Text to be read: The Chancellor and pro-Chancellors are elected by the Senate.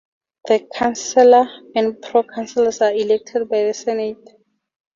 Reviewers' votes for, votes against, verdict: 2, 0, accepted